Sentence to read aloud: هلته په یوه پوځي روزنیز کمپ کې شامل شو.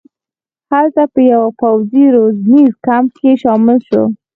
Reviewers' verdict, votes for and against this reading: rejected, 0, 4